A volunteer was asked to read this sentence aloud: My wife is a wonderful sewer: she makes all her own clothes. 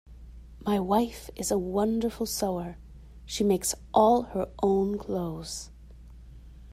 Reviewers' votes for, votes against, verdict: 2, 0, accepted